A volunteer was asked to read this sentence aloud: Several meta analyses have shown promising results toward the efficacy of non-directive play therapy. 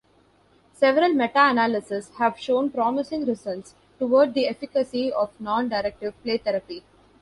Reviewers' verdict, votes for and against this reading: accepted, 2, 0